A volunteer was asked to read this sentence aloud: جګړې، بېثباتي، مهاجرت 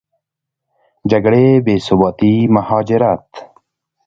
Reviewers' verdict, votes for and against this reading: accepted, 2, 0